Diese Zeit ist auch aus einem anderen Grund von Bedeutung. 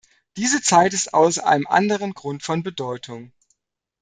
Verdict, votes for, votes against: rejected, 1, 2